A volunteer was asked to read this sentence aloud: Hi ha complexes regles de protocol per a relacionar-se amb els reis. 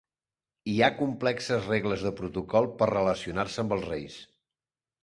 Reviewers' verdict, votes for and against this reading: rejected, 0, 2